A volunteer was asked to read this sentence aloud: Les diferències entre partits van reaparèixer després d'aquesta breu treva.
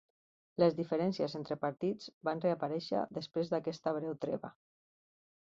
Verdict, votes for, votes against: accepted, 2, 0